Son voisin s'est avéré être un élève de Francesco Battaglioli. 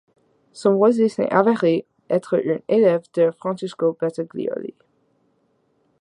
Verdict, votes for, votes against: rejected, 1, 2